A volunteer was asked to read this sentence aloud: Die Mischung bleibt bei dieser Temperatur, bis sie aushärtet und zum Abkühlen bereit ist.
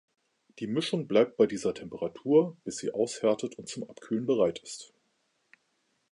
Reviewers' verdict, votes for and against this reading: accepted, 2, 0